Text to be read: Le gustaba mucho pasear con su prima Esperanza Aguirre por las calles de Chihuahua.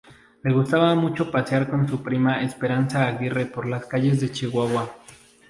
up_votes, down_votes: 2, 0